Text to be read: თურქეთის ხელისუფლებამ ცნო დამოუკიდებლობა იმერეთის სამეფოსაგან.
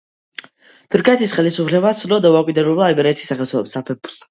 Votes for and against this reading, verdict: 2, 1, accepted